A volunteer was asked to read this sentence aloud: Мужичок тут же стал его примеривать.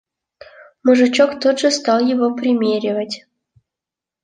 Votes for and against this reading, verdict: 1, 2, rejected